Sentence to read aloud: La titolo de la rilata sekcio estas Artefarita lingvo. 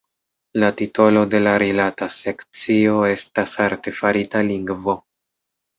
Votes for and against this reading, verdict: 2, 0, accepted